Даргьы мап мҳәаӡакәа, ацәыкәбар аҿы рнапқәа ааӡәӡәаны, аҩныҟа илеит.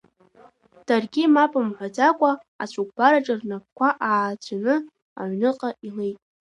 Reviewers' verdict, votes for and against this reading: accepted, 2, 0